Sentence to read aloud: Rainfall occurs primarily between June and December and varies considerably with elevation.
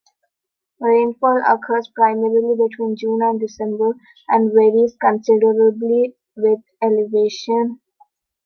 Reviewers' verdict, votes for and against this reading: accepted, 2, 0